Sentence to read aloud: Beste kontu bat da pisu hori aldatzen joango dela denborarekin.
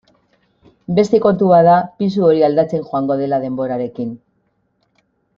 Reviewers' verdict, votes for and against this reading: accepted, 2, 0